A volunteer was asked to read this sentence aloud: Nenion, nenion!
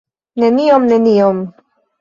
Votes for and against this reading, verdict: 1, 2, rejected